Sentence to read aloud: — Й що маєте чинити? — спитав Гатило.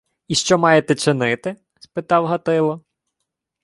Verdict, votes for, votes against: accepted, 2, 1